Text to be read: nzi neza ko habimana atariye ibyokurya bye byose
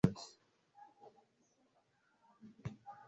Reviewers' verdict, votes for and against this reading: rejected, 0, 2